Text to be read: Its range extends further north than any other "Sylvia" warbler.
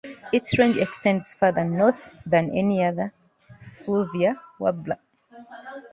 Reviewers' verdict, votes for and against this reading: rejected, 1, 2